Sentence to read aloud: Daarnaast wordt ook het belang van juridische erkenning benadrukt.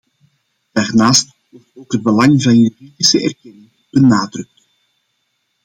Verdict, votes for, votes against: rejected, 0, 2